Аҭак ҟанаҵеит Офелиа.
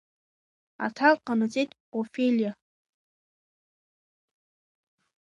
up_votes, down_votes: 0, 2